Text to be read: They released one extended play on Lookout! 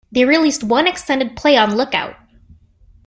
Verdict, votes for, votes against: accepted, 2, 0